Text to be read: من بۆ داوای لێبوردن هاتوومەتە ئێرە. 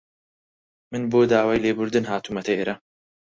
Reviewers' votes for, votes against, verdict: 4, 0, accepted